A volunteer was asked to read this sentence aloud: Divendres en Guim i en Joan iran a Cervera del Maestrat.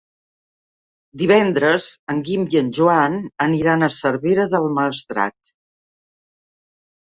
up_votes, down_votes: 0, 2